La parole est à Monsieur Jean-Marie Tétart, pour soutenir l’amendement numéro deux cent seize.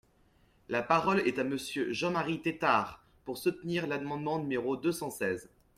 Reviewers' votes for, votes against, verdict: 2, 0, accepted